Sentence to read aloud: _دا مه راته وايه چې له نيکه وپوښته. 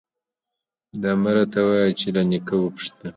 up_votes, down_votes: 2, 0